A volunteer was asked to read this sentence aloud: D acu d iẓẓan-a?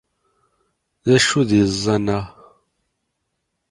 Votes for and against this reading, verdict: 1, 2, rejected